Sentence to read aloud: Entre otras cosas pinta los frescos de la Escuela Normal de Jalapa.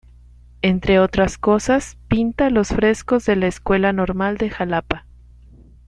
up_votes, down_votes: 2, 0